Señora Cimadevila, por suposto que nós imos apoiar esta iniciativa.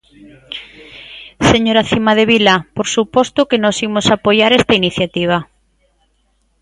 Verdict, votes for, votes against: accepted, 2, 1